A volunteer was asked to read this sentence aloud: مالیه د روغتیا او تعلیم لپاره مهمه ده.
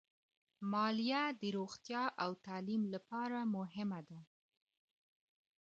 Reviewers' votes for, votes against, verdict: 2, 1, accepted